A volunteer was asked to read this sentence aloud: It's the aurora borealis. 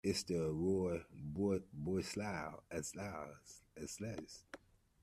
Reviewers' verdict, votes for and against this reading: rejected, 1, 2